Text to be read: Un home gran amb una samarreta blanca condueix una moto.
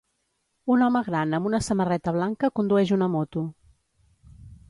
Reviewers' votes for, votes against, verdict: 2, 0, accepted